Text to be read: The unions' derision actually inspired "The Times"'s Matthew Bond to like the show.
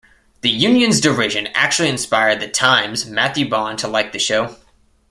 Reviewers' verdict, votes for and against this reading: accepted, 2, 0